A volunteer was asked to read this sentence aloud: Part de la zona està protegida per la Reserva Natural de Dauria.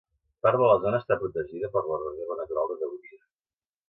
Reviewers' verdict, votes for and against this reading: accepted, 2, 0